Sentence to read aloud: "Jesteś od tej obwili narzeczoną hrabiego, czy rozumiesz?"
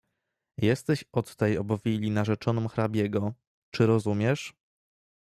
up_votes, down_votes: 2, 0